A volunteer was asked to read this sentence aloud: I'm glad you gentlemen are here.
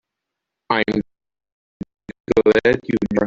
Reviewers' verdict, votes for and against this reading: rejected, 0, 2